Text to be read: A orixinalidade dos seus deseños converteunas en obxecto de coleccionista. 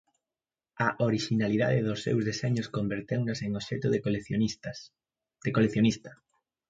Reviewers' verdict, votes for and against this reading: rejected, 0, 2